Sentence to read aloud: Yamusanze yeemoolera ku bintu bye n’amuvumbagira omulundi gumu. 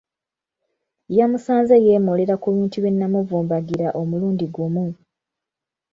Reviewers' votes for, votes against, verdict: 1, 2, rejected